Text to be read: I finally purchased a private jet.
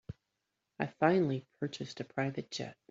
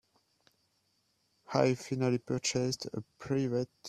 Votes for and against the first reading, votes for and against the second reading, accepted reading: 3, 1, 1, 2, first